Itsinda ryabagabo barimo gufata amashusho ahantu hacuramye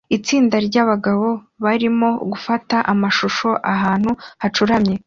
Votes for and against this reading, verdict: 2, 0, accepted